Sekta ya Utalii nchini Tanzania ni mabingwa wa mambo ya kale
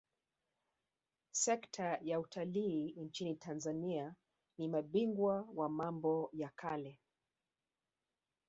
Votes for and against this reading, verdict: 1, 2, rejected